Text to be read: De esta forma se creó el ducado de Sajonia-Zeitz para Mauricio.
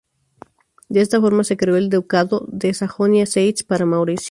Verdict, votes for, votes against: accepted, 2, 0